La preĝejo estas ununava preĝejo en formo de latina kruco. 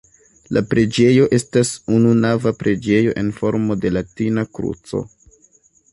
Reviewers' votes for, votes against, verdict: 2, 0, accepted